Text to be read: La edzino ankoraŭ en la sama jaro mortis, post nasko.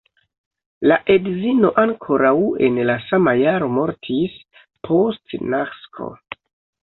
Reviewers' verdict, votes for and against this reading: accepted, 2, 1